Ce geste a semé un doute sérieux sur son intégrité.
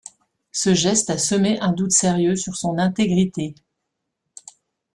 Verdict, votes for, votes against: accepted, 2, 0